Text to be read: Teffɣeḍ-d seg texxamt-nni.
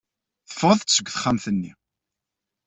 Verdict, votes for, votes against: accepted, 2, 0